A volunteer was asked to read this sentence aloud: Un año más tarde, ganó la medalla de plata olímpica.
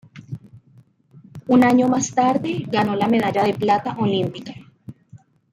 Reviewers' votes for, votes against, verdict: 2, 1, accepted